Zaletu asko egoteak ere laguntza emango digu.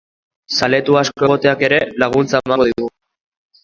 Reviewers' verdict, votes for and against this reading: rejected, 1, 2